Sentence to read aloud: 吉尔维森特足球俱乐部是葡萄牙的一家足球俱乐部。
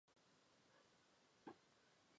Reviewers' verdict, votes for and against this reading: rejected, 1, 2